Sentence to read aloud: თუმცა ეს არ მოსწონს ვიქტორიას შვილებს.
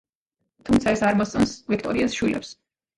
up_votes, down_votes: 1, 2